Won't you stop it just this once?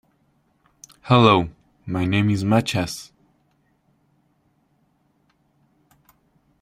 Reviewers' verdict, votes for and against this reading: rejected, 0, 2